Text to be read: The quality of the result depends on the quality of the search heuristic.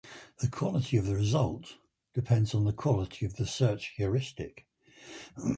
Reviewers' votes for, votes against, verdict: 4, 0, accepted